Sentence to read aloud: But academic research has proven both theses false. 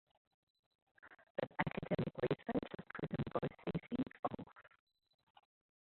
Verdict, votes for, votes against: rejected, 0, 2